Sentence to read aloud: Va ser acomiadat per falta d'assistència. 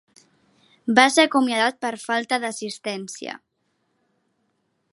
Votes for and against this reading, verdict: 3, 0, accepted